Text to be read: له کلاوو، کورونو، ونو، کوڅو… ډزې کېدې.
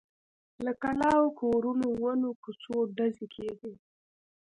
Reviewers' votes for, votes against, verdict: 2, 1, accepted